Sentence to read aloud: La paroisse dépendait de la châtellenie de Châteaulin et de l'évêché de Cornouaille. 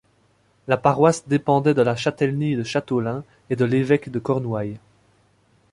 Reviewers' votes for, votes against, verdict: 1, 2, rejected